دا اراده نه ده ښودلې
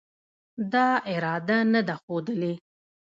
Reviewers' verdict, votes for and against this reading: rejected, 0, 2